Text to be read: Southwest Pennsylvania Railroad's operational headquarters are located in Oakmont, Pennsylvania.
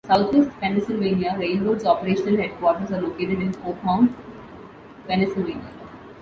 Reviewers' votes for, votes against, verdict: 1, 3, rejected